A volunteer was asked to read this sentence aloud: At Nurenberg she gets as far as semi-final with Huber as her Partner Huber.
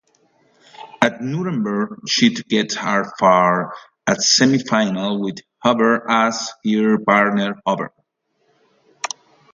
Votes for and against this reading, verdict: 0, 2, rejected